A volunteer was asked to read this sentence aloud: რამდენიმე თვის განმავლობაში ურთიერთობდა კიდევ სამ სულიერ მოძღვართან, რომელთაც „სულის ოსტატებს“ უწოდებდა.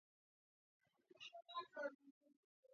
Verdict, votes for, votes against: rejected, 0, 2